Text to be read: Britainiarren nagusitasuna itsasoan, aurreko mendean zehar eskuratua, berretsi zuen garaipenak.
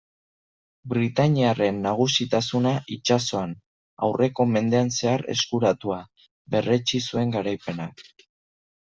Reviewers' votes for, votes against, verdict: 2, 0, accepted